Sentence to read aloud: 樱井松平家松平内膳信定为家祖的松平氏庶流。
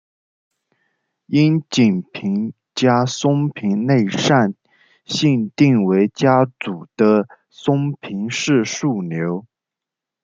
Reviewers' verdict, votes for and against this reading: rejected, 0, 2